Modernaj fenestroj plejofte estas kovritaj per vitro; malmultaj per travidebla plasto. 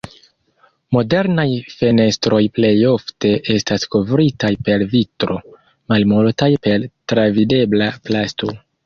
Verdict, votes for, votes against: accepted, 2, 0